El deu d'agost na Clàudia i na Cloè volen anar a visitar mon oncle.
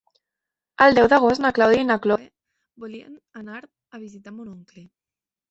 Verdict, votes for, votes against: rejected, 0, 2